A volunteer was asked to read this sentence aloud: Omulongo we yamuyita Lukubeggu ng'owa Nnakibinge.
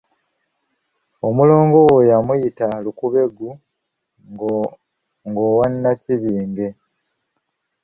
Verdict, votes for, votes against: rejected, 1, 3